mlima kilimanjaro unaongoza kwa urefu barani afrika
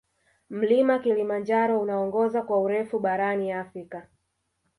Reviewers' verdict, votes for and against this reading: accepted, 3, 1